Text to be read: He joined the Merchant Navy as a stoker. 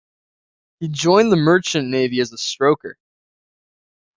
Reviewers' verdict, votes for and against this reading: rejected, 1, 2